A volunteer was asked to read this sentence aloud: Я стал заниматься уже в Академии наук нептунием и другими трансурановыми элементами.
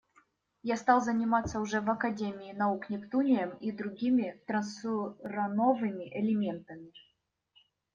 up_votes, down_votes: 1, 2